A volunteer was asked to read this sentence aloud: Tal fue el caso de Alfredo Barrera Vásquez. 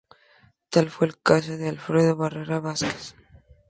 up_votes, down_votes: 2, 0